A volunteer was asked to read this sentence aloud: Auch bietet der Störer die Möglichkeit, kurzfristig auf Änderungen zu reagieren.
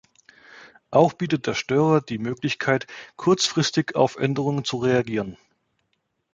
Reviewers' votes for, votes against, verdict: 2, 0, accepted